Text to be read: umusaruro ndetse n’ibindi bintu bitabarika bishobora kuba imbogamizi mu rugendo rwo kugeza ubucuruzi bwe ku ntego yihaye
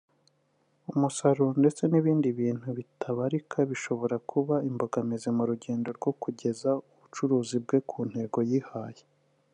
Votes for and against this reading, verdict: 0, 2, rejected